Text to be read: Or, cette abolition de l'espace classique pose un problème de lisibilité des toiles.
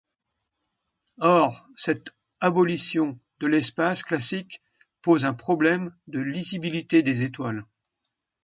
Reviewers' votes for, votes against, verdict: 1, 2, rejected